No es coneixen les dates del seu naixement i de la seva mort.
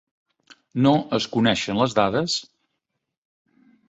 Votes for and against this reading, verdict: 0, 2, rejected